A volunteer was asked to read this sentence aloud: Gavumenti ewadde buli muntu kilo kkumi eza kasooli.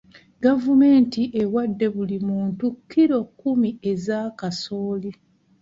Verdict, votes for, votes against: rejected, 1, 2